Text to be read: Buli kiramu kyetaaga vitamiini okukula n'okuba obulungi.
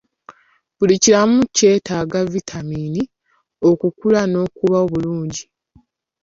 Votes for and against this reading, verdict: 2, 0, accepted